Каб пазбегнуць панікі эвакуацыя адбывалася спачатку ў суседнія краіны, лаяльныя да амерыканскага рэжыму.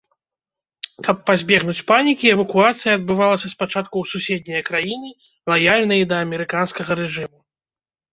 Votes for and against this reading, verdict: 1, 3, rejected